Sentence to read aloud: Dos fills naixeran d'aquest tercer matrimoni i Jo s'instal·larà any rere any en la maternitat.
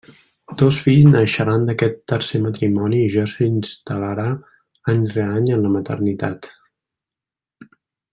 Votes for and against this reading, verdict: 1, 2, rejected